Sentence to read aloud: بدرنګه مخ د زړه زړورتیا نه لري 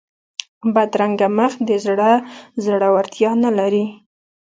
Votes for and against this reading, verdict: 2, 0, accepted